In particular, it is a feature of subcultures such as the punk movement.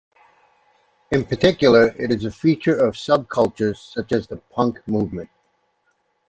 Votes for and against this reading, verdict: 2, 0, accepted